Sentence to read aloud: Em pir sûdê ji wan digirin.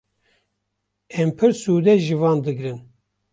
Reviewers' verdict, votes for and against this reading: rejected, 1, 2